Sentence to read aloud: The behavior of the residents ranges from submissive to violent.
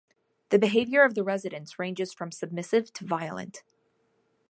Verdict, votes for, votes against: accepted, 2, 0